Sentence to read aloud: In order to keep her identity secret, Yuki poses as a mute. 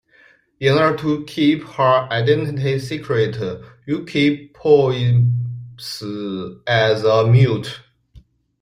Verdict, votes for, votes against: rejected, 0, 2